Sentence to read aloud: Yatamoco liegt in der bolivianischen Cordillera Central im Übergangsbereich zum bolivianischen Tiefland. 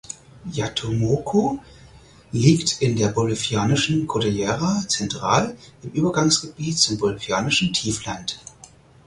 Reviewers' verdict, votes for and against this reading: rejected, 0, 4